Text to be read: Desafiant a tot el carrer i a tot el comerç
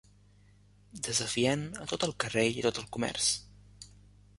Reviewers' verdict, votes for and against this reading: accepted, 2, 1